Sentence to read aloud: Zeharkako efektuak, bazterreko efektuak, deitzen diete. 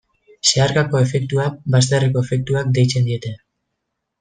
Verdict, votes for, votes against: rejected, 1, 2